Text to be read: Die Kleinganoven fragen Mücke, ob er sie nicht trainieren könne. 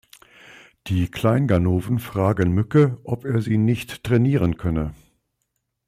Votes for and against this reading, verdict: 2, 0, accepted